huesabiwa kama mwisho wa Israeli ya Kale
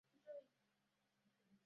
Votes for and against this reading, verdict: 0, 2, rejected